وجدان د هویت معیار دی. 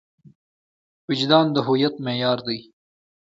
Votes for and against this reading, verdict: 2, 0, accepted